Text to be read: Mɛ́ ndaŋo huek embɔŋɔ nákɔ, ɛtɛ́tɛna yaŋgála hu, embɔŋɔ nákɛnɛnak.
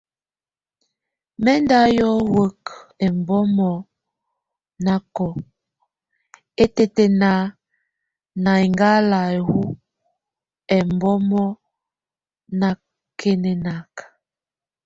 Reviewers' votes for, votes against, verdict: 0, 2, rejected